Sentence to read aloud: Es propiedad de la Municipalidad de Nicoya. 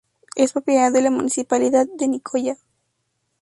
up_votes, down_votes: 4, 0